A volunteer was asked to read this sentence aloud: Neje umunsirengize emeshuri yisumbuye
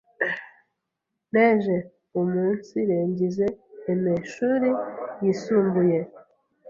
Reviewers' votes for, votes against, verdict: 1, 2, rejected